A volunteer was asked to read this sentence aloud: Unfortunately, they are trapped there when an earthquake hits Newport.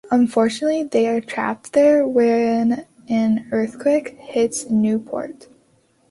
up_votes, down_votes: 1, 2